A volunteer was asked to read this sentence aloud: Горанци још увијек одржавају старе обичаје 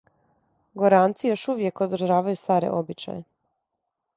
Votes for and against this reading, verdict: 2, 0, accepted